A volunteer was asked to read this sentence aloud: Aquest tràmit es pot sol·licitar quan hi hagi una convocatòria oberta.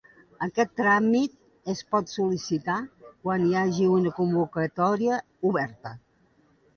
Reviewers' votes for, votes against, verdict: 2, 1, accepted